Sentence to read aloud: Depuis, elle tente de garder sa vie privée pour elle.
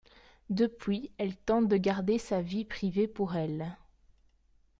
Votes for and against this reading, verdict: 2, 0, accepted